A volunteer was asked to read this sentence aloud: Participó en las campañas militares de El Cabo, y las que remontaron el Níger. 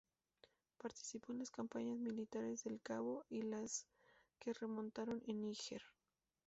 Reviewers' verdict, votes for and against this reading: rejected, 0, 2